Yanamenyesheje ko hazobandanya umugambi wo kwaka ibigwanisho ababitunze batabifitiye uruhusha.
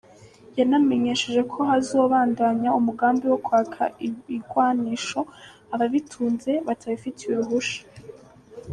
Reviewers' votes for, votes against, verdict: 0, 2, rejected